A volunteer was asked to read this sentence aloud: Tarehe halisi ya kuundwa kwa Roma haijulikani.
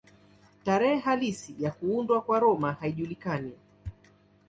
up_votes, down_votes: 2, 0